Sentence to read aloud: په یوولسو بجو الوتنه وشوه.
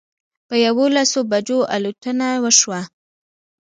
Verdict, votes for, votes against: rejected, 0, 2